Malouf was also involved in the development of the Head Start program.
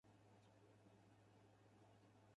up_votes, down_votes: 0, 4